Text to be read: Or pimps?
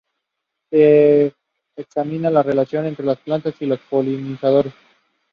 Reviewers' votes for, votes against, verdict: 0, 2, rejected